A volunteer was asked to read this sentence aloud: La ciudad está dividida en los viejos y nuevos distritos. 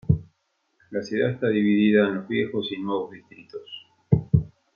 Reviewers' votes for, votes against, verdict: 2, 1, accepted